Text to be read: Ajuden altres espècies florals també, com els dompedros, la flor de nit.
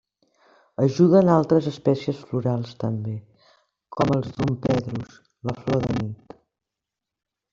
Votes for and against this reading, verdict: 0, 2, rejected